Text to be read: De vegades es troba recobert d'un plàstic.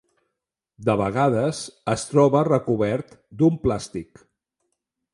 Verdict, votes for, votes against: accepted, 3, 0